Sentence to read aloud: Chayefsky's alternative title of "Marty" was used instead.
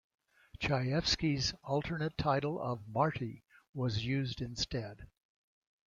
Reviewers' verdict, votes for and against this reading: rejected, 0, 2